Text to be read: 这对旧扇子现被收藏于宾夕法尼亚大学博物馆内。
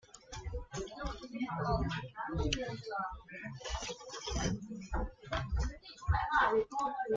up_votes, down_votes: 0, 2